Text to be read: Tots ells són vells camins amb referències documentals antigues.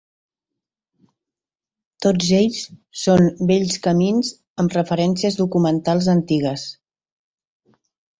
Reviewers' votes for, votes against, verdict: 4, 0, accepted